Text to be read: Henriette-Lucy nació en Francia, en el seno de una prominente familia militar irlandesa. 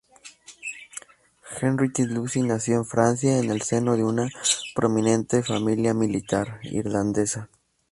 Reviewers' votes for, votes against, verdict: 4, 0, accepted